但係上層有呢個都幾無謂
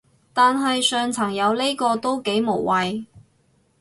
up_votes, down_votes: 4, 0